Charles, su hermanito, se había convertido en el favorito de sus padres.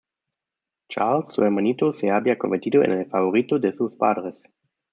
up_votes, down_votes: 1, 2